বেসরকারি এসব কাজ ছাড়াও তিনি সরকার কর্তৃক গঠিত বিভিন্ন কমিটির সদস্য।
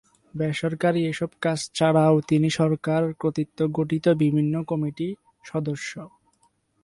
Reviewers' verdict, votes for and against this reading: rejected, 0, 2